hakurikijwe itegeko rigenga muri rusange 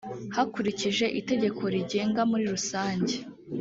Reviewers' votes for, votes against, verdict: 0, 2, rejected